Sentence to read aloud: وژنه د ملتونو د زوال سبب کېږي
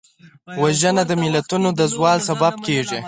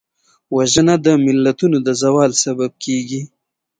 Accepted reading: first